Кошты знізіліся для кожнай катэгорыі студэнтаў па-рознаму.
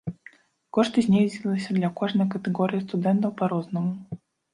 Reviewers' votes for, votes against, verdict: 0, 2, rejected